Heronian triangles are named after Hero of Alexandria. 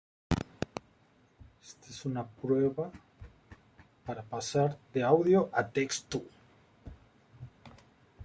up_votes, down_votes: 0, 2